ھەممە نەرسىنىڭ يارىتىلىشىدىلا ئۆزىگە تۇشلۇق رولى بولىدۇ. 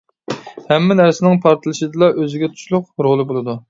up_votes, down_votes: 0, 2